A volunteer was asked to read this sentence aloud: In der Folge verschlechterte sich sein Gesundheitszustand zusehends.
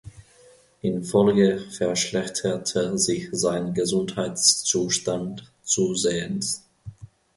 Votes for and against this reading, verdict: 0, 3, rejected